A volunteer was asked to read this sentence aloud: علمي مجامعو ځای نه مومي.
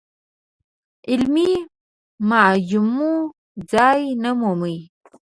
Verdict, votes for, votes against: rejected, 0, 2